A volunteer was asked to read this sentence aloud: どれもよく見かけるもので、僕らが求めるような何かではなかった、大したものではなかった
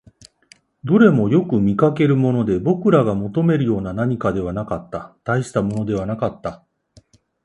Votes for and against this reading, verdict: 2, 0, accepted